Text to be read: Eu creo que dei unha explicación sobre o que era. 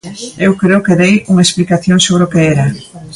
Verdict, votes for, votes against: accepted, 2, 0